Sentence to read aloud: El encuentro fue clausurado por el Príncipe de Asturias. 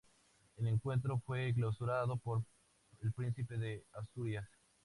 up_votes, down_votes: 0, 4